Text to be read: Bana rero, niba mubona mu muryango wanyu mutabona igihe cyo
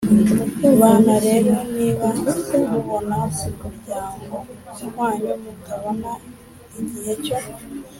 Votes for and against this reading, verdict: 3, 0, accepted